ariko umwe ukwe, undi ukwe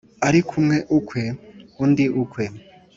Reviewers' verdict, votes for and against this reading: accepted, 2, 0